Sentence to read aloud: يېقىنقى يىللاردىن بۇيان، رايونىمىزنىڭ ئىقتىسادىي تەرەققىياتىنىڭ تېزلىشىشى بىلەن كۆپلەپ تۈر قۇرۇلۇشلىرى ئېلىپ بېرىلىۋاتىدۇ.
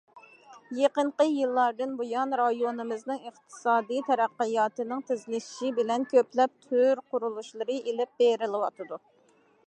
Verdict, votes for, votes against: accepted, 2, 0